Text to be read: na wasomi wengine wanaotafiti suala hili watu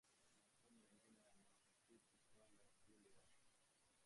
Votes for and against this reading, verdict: 0, 2, rejected